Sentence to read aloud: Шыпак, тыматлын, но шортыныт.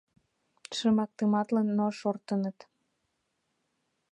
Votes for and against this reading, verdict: 1, 2, rejected